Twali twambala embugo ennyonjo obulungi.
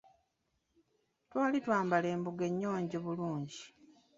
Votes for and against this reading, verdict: 0, 2, rejected